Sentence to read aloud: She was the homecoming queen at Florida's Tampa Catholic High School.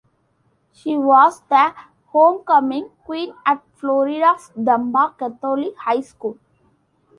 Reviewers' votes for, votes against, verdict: 0, 2, rejected